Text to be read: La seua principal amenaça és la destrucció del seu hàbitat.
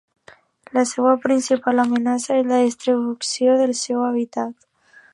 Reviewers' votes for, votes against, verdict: 1, 2, rejected